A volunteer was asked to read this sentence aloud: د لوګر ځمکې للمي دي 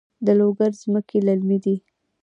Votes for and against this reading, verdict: 2, 0, accepted